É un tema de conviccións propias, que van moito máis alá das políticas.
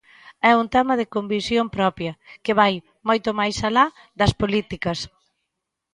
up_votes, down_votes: 0, 2